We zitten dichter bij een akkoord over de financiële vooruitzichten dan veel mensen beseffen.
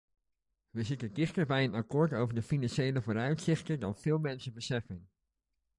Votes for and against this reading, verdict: 2, 0, accepted